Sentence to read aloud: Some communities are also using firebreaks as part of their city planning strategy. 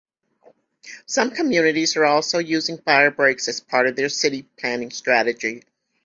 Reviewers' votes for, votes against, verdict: 2, 1, accepted